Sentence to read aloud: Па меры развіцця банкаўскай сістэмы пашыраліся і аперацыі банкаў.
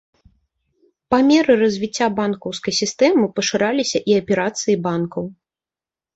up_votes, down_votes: 3, 0